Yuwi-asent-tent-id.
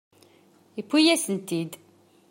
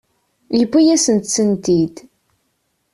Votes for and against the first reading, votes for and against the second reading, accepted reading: 2, 0, 1, 2, first